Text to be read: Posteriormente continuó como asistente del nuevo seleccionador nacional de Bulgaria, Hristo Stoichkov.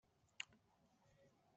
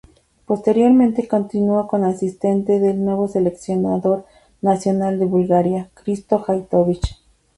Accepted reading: second